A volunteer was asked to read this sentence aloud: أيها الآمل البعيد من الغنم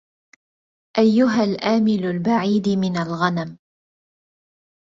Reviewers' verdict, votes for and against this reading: rejected, 0, 2